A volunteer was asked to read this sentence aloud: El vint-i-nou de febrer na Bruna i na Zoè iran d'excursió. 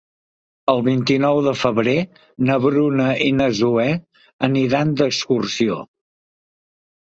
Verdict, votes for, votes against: rejected, 0, 2